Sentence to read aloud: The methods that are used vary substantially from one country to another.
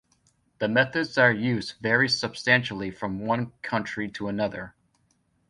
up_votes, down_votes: 1, 2